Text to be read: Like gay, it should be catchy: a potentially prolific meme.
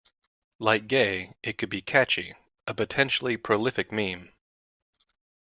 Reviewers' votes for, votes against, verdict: 0, 2, rejected